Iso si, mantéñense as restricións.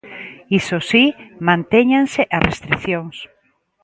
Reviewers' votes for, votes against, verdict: 2, 0, accepted